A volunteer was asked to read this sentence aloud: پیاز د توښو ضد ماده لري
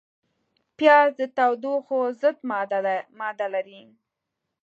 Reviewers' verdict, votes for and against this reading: accepted, 2, 1